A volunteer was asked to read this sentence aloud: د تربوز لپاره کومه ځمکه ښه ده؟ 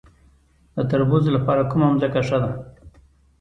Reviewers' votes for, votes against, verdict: 2, 0, accepted